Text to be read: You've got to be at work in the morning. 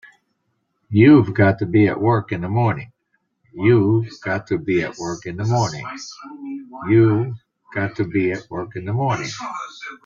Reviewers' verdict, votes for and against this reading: rejected, 0, 2